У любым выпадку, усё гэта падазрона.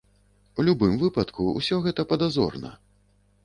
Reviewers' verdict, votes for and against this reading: rejected, 1, 2